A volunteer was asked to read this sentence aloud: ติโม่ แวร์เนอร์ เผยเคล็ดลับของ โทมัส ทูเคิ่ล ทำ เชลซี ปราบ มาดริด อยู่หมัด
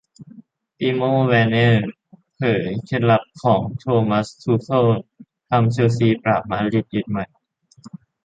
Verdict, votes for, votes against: accepted, 2, 0